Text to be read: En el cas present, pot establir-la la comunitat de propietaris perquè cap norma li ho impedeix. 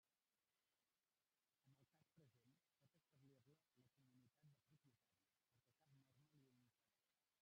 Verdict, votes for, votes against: rejected, 0, 2